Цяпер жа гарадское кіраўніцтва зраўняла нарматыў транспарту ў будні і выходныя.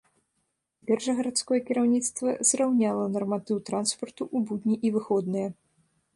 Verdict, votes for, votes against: rejected, 0, 2